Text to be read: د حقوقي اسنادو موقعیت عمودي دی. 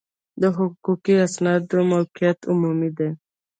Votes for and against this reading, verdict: 2, 0, accepted